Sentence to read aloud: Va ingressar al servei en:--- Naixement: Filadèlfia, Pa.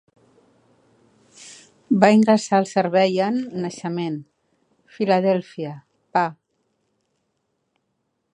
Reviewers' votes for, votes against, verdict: 2, 0, accepted